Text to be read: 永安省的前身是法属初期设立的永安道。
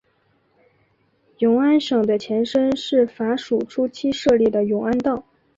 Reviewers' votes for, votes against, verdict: 2, 0, accepted